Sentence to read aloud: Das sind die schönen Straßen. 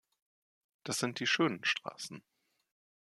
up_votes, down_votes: 2, 0